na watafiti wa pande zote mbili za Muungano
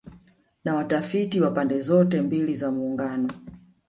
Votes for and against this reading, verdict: 2, 0, accepted